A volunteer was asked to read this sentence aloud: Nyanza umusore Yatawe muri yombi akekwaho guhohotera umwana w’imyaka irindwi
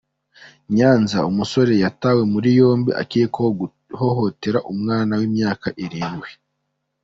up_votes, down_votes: 2, 1